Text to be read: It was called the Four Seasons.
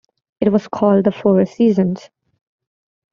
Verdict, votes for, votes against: accepted, 2, 0